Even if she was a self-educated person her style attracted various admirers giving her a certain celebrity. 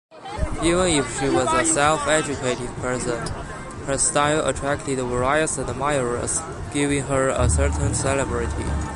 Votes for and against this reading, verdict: 0, 2, rejected